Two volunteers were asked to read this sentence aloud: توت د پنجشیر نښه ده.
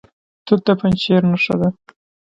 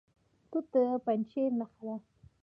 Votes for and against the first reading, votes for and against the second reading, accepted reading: 0, 2, 2, 0, second